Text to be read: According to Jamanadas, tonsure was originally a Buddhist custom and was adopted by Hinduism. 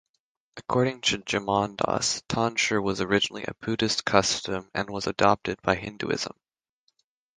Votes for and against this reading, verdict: 0, 3, rejected